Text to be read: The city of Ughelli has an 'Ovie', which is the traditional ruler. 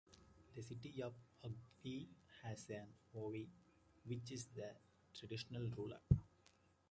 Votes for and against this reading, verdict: 2, 1, accepted